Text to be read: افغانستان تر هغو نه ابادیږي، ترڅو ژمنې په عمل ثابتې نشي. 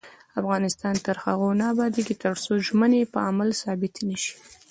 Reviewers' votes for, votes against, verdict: 2, 0, accepted